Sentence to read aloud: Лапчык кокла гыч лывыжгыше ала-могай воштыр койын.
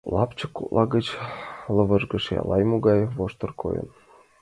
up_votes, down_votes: 0, 2